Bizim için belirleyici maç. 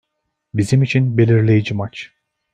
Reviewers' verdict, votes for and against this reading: accepted, 2, 0